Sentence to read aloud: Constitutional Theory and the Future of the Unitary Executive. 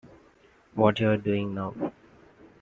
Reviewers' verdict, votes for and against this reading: rejected, 0, 2